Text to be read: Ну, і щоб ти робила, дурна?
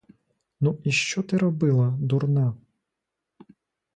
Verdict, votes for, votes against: rejected, 1, 2